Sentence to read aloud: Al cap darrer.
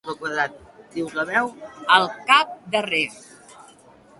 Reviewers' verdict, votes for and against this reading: rejected, 0, 2